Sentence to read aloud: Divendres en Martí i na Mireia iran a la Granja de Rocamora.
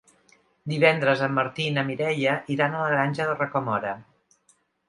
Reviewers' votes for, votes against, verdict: 2, 0, accepted